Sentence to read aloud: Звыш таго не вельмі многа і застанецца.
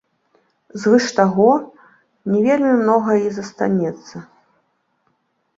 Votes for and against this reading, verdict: 1, 2, rejected